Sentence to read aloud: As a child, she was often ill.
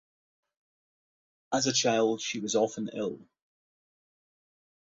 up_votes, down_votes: 2, 0